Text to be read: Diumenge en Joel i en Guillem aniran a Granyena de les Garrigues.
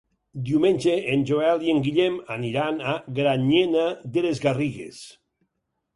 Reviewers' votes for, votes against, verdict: 6, 0, accepted